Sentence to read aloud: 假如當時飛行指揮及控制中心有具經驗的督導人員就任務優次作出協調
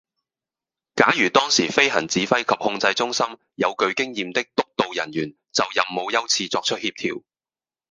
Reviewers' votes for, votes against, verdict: 0, 2, rejected